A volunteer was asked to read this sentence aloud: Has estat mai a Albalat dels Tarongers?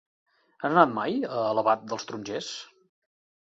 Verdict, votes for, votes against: rejected, 0, 2